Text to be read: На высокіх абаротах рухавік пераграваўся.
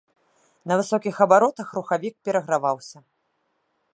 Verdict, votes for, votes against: accepted, 2, 0